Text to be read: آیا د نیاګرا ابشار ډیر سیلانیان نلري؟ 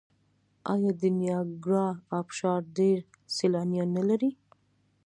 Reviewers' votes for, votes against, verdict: 2, 0, accepted